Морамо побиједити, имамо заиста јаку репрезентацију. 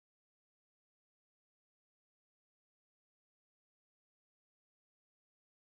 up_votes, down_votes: 0, 2